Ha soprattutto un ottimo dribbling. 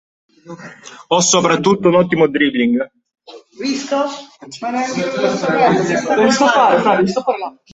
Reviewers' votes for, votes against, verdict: 1, 2, rejected